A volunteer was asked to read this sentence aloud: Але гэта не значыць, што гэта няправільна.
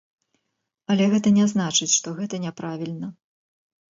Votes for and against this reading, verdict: 0, 2, rejected